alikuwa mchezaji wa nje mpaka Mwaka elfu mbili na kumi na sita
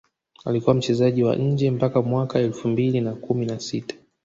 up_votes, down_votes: 1, 2